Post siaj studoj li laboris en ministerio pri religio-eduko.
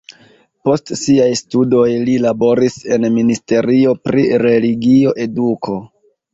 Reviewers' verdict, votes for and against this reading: rejected, 0, 2